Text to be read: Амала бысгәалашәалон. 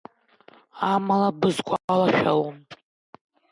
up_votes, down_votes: 1, 2